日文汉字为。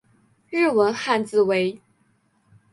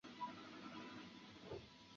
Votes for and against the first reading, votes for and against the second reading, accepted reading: 4, 0, 0, 2, first